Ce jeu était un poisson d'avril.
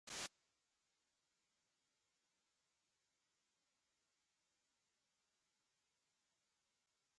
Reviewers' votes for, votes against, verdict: 0, 2, rejected